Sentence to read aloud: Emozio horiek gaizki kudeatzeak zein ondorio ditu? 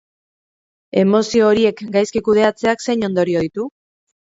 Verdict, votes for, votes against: rejected, 0, 2